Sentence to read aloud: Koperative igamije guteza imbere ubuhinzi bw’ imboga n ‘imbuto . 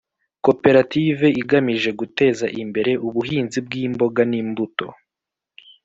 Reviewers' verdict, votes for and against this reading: accepted, 2, 0